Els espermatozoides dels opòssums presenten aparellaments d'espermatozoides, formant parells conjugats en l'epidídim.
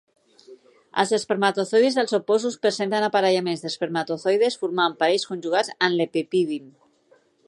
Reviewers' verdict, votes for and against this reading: rejected, 2, 3